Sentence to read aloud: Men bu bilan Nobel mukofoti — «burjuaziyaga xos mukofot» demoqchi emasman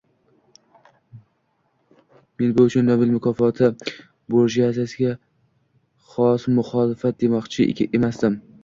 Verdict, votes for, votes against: rejected, 0, 2